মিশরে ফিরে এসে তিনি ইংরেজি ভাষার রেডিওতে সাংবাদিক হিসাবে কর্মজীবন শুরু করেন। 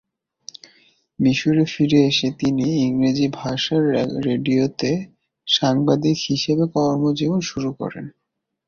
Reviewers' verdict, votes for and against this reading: rejected, 0, 3